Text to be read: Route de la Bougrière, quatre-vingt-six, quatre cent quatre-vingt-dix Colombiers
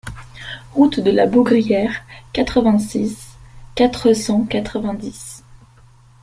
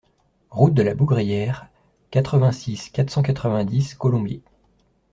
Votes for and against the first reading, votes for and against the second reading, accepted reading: 0, 2, 2, 0, second